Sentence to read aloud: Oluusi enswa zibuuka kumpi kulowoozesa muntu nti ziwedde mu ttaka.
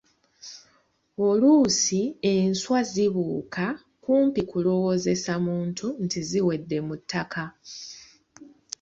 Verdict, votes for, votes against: accepted, 2, 0